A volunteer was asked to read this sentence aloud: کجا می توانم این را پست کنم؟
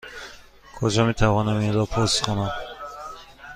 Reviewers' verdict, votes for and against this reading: accepted, 2, 1